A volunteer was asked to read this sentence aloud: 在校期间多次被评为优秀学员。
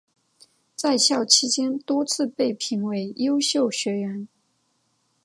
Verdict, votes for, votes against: accepted, 2, 0